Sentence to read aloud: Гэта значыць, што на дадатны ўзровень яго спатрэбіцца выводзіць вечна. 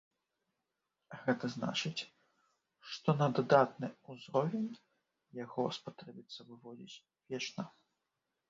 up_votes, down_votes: 1, 2